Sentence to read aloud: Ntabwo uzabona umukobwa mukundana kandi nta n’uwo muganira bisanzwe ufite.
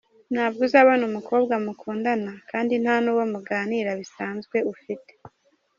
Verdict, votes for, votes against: rejected, 1, 2